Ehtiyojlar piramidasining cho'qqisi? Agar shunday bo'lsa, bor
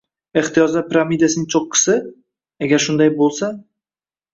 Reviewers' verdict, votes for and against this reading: rejected, 0, 2